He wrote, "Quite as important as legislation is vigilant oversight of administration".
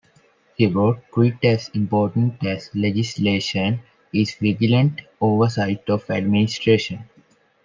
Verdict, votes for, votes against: accepted, 3, 1